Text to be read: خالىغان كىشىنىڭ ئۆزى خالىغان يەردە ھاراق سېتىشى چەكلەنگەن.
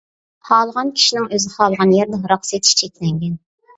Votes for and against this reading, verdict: 2, 1, accepted